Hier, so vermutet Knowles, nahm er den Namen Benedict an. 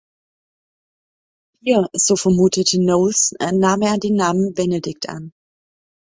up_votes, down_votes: 1, 2